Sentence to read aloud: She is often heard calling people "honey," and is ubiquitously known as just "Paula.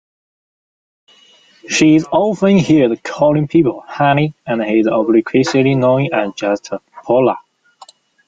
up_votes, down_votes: 1, 2